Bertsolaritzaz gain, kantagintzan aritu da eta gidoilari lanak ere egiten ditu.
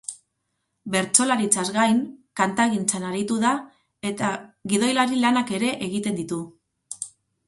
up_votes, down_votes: 4, 0